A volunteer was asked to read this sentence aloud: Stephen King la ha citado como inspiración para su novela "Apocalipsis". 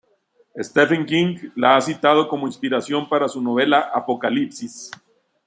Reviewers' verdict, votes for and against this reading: accepted, 2, 1